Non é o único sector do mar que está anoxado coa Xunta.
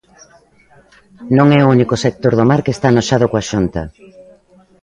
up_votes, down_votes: 2, 0